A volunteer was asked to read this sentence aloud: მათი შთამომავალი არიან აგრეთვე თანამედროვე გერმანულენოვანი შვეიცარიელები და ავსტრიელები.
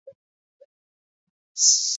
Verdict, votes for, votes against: rejected, 0, 3